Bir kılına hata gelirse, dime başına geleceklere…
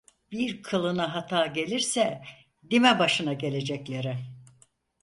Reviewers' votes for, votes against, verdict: 4, 0, accepted